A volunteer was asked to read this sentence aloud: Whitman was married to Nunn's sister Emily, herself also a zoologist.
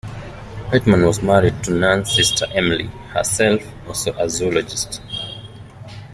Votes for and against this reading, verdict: 2, 0, accepted